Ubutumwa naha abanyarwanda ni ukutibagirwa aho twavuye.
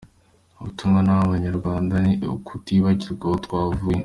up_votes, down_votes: 2, 0